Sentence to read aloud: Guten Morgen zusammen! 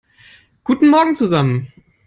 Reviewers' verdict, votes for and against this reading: accepted, 3, 0